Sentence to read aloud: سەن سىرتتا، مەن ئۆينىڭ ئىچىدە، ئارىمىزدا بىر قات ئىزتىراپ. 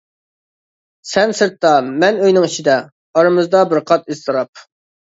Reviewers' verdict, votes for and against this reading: accepted, 2, 0